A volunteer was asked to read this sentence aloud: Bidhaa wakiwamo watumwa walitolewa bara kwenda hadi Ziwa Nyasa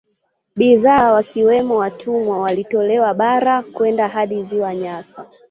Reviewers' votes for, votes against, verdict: 2, 1, accepted